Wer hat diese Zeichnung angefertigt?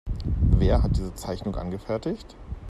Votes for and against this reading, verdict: 2, 0, accepted